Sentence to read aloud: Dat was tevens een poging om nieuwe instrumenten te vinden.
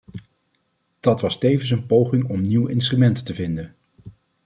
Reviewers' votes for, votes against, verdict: 0, 2, rejected